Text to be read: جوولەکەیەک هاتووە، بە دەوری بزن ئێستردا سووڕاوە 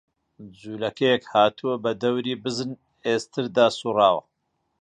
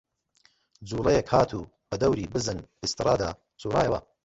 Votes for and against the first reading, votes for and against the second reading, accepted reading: 2, 0, 0, 2, first